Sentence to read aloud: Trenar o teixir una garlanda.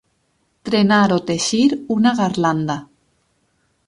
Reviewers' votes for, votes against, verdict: 6, 0, accepted